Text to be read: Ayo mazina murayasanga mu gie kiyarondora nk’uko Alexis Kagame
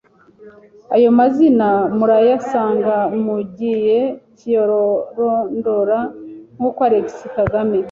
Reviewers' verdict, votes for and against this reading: rejected, 0, 2